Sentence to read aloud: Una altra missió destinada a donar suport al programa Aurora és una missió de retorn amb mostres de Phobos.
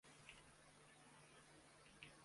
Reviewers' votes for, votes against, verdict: 0, 2, rejected